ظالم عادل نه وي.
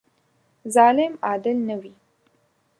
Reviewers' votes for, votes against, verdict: 3, 0, accepted